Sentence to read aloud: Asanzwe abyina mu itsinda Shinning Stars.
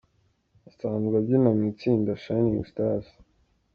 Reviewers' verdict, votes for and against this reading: accepted, 2, 0